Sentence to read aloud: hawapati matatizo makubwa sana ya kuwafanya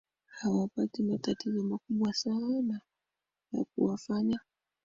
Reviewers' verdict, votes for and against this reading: accepted, 2, 1